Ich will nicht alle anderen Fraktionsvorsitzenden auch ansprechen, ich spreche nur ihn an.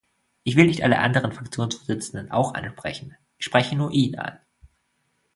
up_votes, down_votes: 0, 2